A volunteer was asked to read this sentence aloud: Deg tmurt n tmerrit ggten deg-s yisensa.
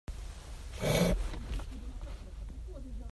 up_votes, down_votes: 0, 2